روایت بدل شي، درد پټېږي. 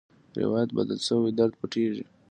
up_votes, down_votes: 2, 0